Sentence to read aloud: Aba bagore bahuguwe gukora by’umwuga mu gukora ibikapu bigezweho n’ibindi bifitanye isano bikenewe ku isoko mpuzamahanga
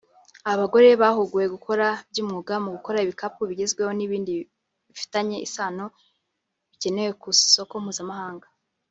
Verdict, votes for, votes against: accepted, 2, 1